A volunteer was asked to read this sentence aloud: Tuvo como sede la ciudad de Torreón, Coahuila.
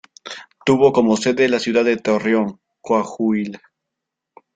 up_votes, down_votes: 1, 2